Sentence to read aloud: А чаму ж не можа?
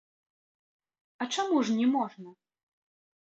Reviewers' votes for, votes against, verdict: 0, 2, rejected